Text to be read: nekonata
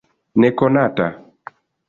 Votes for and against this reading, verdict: 2, 1, accepted